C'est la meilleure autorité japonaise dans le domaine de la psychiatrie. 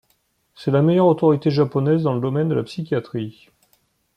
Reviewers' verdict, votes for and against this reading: accepted, 2, 0